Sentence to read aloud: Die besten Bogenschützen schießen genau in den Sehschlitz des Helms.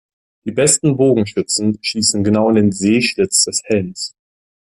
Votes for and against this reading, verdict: 2, 0, accepted